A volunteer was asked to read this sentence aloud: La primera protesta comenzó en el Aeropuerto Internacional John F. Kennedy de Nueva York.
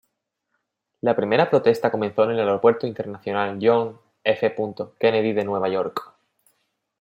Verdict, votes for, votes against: rejected, 1, 2